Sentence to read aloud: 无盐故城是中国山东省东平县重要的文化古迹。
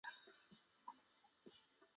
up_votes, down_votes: 0, 4